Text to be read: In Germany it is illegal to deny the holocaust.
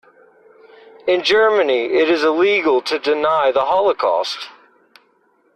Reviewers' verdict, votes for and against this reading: accepted, 2, 0